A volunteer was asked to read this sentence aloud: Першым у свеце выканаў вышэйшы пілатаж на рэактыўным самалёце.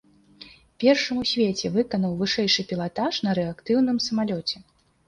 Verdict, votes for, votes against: accepted, 3, 0